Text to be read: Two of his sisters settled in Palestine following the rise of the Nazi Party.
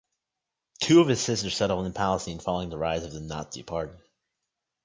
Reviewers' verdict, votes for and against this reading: accepted, 2, 0